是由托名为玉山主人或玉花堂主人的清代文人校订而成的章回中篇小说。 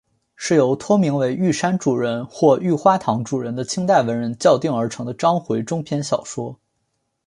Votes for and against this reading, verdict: 2, 1, accepted